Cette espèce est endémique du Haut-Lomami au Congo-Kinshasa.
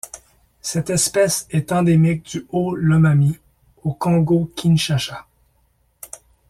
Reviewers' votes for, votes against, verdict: 1, 2, rejected